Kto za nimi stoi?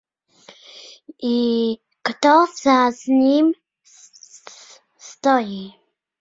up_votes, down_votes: 0, 2